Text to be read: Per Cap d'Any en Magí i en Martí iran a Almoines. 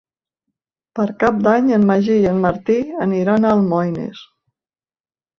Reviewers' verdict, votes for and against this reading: rejected, 0, 2